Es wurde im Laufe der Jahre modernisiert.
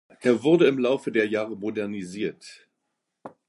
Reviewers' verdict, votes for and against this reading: rejected, 1, 2